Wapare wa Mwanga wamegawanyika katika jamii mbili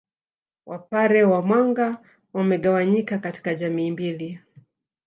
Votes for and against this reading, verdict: 2, 1, accepted